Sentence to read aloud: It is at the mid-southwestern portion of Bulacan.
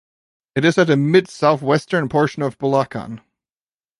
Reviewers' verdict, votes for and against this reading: accepted, 2, 1